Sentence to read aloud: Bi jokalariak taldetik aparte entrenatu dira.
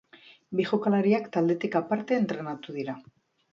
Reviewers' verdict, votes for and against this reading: accepted, 4, 0